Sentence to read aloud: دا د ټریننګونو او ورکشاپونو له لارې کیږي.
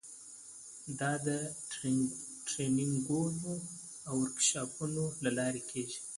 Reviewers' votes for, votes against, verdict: 2, 0, accepted